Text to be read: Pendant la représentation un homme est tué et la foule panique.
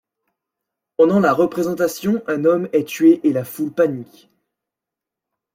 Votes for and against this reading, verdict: 2, 0, accepted